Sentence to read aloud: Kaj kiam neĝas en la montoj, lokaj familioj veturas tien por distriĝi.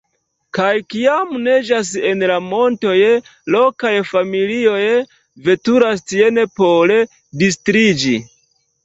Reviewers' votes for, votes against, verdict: 2, 0, accepted